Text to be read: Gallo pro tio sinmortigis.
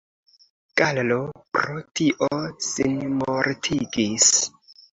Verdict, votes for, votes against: accepted, 2, 0